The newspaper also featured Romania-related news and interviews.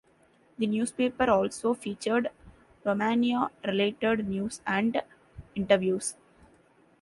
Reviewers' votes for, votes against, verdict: 2, 0, accepted